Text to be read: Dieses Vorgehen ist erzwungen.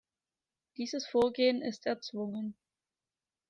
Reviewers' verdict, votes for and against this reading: accepted, 2, 0